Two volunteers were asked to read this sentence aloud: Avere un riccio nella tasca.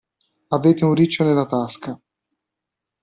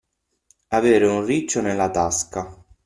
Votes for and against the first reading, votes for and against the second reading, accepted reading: 0, 2, 6, 0, second